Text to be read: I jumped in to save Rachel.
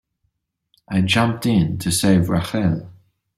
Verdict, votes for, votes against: rejected, 1, 2